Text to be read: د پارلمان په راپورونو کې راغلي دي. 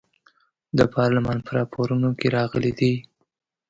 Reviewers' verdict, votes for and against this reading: accepted, 2, 0